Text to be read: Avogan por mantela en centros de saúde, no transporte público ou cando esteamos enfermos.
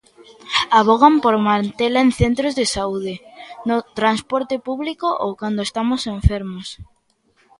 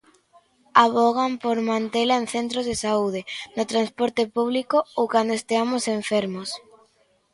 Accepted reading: second